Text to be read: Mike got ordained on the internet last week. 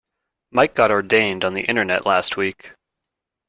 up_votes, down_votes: 2, 0